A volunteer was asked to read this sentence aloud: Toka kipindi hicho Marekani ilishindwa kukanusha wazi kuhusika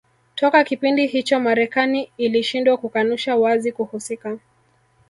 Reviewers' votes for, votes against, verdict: 2, 1, accepted